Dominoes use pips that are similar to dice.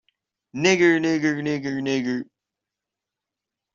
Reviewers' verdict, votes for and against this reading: rejected, 0, 2